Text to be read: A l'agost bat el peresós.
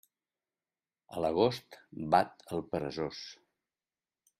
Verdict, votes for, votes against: accepted, 3, 0